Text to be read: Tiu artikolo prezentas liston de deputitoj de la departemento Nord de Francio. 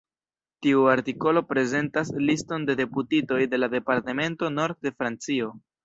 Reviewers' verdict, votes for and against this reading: rejected, 1, 2